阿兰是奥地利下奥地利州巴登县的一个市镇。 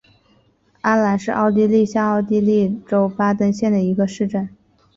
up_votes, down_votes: 4, 0